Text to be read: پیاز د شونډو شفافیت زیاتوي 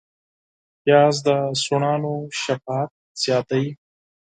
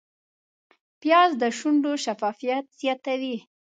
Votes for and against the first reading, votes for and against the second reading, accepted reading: 0, 4, 2, 0, second